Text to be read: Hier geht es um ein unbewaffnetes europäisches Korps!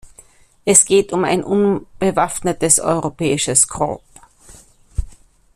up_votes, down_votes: 1, 2